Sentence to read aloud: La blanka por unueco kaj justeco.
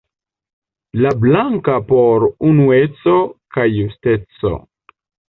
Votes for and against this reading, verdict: 0, 2, rejected